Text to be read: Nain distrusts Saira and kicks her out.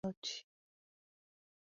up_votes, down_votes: 0, 2